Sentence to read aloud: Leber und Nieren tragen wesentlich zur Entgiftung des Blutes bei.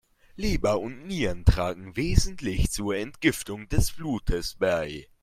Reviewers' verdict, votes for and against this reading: accepted, 2, 0